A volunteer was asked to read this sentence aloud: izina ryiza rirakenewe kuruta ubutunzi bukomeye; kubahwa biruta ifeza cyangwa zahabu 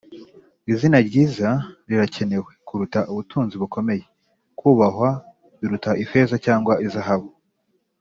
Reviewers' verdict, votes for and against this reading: accepted, 3, 0